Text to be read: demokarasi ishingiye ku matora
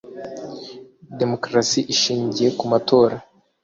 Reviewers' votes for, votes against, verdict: 2, 0, accepted